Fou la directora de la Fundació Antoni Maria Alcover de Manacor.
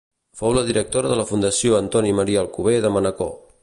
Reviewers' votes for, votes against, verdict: 2, 0, accepted